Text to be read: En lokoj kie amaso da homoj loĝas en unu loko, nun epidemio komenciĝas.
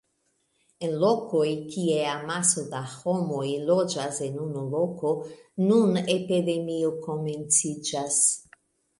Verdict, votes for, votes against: rejected, 0, 2